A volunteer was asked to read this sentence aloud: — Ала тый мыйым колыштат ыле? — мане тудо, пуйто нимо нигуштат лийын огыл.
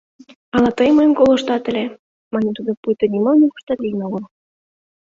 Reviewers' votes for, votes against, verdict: 2, 0, accepted